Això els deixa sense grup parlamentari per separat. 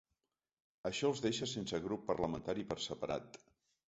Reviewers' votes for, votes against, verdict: 2, 0, accepted